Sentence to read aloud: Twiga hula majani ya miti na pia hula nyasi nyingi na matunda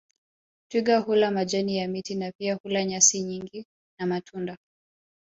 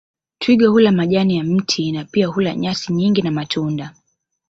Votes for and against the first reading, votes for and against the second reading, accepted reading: 1, 2, 2, 1, second